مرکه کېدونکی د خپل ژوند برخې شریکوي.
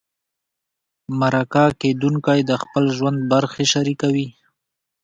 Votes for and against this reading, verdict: 2, 0, accepted